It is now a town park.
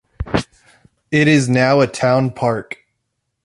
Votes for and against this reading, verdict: 2, 0, accepted